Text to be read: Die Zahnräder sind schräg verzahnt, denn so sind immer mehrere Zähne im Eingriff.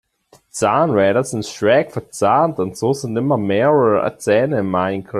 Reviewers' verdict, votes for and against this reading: rejected, 1, 2